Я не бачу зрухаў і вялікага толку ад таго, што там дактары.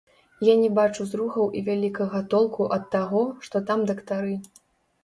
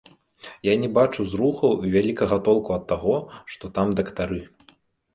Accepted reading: second